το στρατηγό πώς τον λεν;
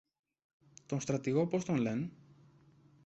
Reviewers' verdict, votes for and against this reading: accepted, 2, 0